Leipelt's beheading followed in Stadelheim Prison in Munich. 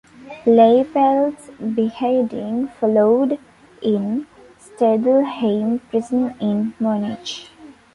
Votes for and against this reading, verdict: 1, 2, rejected